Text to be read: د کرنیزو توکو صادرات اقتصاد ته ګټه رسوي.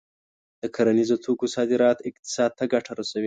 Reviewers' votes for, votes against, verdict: 2, 0, accepted